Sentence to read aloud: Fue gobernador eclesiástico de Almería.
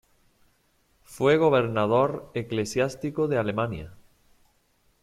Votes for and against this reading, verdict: 1, 2, rejected